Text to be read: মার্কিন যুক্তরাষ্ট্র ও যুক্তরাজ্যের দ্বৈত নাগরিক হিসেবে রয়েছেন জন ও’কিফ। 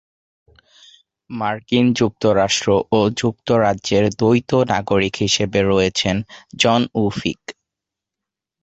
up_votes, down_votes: 1, 2